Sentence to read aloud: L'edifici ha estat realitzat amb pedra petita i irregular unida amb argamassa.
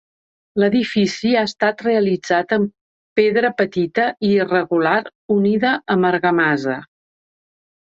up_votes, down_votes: 2, 1